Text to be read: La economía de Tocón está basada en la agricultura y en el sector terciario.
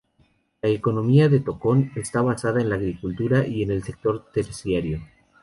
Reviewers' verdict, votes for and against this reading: accepted, 2, 0